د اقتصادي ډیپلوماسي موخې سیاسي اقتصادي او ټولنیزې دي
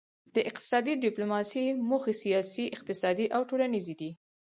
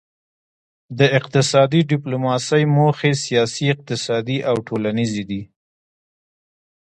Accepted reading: second